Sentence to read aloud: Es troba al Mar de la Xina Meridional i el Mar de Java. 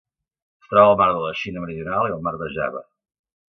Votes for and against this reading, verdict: 0, 2, rejected